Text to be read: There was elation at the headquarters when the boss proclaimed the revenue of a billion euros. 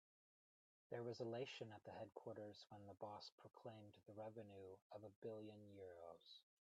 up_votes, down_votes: 2, 1